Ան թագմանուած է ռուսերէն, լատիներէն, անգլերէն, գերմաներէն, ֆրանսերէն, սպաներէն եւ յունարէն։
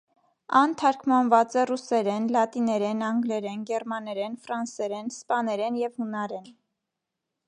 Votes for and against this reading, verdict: 1, 2, rejected